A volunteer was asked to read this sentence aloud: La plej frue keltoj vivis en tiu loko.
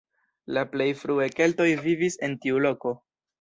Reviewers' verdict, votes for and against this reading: rejected, 1, 2